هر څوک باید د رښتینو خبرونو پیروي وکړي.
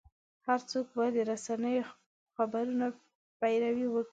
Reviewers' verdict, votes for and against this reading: rejected, 0, 2